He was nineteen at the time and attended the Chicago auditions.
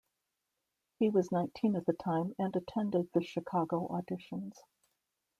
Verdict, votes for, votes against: accepted, 2, 0